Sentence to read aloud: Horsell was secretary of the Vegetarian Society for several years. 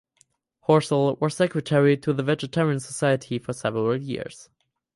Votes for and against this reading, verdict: 0, 4, rejected